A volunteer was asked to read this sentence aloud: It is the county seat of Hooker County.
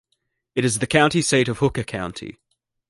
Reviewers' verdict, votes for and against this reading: accepted, 2, 0